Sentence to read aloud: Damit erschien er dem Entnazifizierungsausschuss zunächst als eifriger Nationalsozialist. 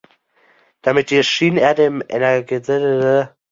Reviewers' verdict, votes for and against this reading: rejected, 0, 2